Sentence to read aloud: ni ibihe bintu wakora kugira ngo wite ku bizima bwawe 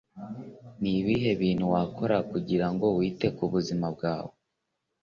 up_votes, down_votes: 2, 1